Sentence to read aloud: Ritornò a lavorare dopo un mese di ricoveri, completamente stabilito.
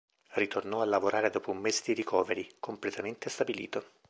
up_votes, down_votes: 2, 0